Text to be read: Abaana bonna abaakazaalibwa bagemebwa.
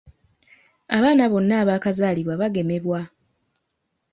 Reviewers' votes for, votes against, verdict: 2, 0, accepted